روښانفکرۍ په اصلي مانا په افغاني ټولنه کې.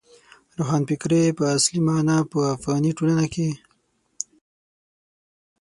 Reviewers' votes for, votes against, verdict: 6, 0, accepted